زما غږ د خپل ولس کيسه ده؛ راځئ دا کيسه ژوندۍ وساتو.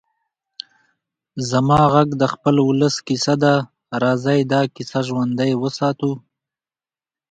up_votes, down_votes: 2, 0